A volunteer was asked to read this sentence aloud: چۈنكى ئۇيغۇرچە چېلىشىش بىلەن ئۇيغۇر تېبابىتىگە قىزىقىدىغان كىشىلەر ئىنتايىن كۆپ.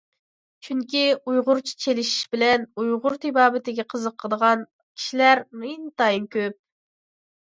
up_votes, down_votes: 2, 0